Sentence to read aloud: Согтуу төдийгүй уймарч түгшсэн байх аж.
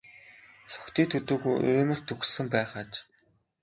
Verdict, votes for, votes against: rejected, 1, 2